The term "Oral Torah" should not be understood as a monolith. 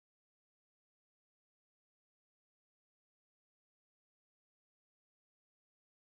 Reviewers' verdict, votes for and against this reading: rejected, 0, 2